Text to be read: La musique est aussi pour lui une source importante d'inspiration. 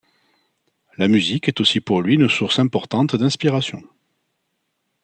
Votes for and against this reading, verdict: 2, 0, accepted